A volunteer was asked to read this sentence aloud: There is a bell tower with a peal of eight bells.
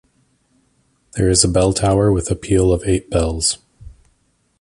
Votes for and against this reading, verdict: 2, 0, accepted